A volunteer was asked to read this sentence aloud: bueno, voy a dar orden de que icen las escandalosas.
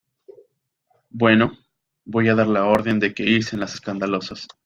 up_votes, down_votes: 0, 2